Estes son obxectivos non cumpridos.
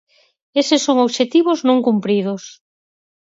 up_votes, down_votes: 0, 4